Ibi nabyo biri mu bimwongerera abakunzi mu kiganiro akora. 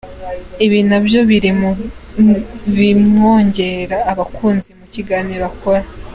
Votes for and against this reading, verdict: 0, 2, rejected